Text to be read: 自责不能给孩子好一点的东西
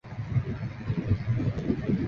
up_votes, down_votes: 0, 5